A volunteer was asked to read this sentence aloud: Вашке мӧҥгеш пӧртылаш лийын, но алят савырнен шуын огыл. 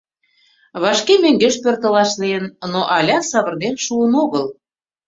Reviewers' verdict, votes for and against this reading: accepted, 2, 1